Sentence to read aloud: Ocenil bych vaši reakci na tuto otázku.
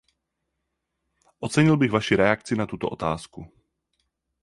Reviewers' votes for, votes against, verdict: 4, 0, accepted